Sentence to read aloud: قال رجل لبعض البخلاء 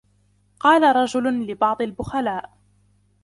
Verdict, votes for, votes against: accepted, 2, 0